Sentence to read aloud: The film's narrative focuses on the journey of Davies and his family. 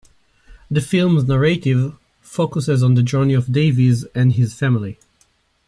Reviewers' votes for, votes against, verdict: 2, 1, accepted